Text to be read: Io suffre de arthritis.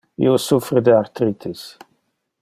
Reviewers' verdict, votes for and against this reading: accepted, 2, 0